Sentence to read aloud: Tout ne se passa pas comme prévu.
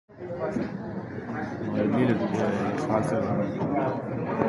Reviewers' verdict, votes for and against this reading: rejected, 1, 2